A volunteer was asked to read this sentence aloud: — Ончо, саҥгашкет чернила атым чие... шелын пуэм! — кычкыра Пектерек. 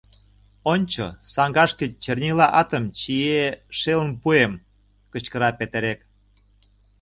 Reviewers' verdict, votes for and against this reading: rejected, 0, 2